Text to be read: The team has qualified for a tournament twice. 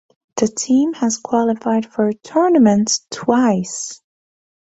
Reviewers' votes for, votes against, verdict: 2, 0, accepted